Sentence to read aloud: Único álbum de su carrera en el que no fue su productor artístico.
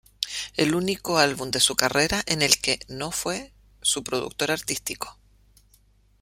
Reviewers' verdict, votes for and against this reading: rejected, 1, 2